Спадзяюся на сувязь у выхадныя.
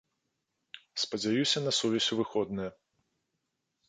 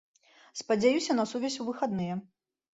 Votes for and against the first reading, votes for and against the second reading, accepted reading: 2, 3, 2, 0, second